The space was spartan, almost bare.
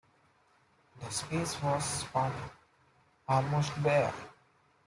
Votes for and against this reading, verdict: 2, 0, accepted